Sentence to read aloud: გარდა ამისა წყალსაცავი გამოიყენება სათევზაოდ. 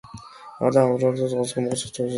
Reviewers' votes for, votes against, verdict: 0, 2, rejected